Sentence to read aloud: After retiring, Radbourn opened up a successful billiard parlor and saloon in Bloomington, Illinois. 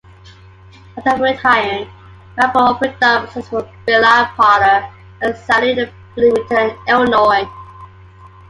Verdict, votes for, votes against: rejected, 1, 2